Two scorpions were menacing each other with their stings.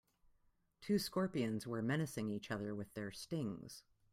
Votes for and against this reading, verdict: 2, 1, accepted